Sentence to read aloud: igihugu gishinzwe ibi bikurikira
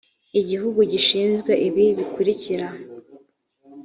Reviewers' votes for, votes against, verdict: 2, 0, accepted